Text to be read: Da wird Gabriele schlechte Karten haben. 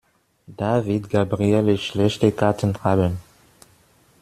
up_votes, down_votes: 1, 2